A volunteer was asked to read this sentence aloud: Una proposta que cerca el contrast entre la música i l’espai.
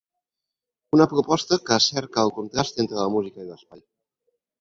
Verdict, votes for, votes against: accepted, 4, 0